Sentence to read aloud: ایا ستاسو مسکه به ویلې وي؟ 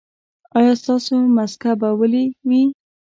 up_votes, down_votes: 1, 2